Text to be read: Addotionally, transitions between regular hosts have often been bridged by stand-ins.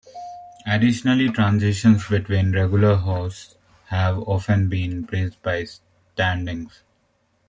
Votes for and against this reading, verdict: 2, 0, accepted